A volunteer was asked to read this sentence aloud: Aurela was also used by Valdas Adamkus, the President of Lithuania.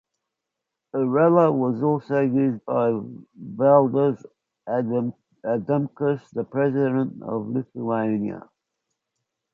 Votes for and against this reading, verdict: 0, 2, rejected